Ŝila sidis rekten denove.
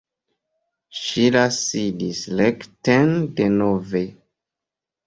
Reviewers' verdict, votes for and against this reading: rejected, 1, 2